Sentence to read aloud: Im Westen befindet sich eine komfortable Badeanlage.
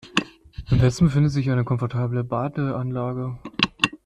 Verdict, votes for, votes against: accepted, 2, 0